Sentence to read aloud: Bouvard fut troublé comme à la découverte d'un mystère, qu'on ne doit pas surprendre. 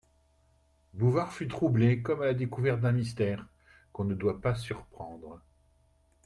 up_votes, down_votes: 2, 0